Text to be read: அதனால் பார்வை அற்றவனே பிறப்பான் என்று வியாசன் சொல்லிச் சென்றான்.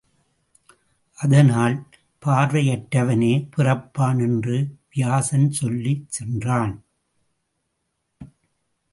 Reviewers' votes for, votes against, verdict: 1, 2, rejected